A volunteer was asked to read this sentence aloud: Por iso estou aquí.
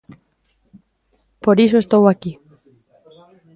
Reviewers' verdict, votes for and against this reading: accepted, 2, 1